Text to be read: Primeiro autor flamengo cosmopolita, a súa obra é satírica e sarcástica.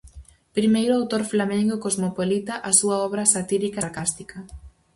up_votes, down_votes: 0, 4